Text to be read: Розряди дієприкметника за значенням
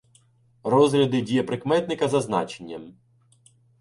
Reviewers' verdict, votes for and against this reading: rejected, 1, 2